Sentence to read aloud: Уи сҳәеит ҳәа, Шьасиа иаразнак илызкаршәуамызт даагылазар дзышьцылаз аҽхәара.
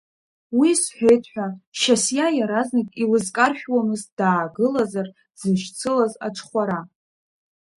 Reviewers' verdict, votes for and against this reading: accepted, 2, 0